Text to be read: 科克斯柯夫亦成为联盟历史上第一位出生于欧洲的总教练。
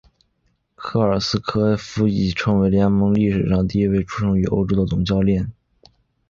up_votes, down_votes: 2, 0